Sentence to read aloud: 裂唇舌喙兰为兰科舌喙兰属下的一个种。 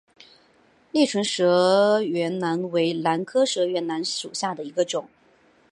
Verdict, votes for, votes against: accepted, 2, 0